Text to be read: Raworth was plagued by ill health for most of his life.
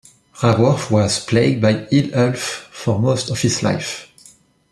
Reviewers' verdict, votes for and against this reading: rejected, 1, 2